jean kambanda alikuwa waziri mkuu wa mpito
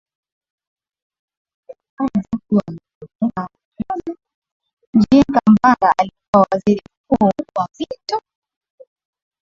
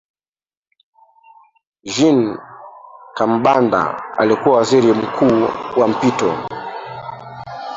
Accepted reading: second